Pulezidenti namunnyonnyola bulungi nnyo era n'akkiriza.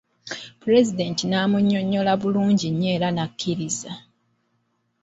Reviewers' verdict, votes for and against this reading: rejected, 1, 2